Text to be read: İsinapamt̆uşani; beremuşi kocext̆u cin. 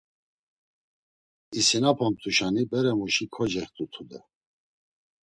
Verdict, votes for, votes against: rejected, 0, 2